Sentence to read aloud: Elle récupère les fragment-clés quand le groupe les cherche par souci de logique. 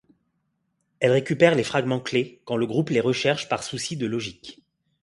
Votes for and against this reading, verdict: 1, 2, rejected